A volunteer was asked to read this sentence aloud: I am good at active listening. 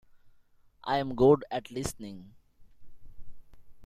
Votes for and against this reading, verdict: 0, 2, rejected